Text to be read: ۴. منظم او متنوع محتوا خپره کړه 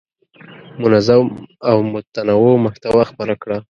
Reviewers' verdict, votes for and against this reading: rejected, 0, 2